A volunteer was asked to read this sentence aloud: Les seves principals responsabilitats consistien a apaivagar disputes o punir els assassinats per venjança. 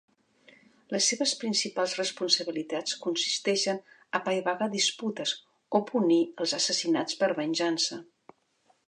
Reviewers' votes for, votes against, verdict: 0, 2, rejected